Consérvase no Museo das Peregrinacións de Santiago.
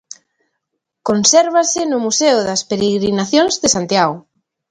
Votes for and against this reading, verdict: 2, 0, accepted